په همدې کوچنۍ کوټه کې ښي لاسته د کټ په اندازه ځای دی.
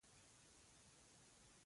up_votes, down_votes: 0, 2